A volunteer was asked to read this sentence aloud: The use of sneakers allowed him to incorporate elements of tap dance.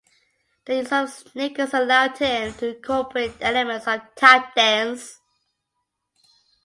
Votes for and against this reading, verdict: 2, 1, accepted